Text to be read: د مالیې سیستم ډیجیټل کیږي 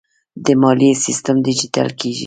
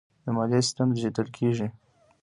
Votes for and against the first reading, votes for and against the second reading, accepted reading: 1, 2, 2, 0, second